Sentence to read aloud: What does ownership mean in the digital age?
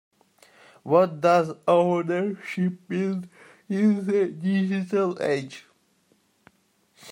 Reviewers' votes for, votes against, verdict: 1, 2, rejected